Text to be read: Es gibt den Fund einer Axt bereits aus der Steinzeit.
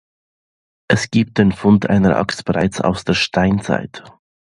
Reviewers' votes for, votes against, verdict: 2, 0, accepted